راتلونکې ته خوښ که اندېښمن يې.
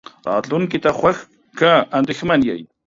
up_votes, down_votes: 2, 0